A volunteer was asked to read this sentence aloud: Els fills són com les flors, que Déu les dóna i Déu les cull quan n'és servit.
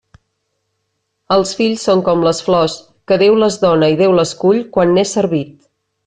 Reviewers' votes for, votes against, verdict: 3, 0, accepted